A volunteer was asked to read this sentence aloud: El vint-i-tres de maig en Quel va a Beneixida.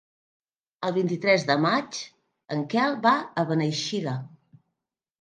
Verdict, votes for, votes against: accepted, 3, 0